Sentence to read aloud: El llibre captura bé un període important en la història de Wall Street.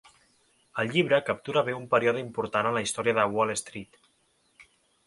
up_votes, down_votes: 3, 0